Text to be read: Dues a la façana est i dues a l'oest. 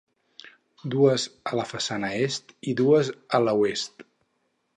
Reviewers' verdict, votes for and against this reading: rejected, 0, 4